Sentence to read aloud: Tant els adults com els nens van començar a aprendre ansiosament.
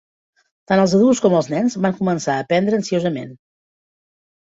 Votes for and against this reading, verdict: 3, 0, accepted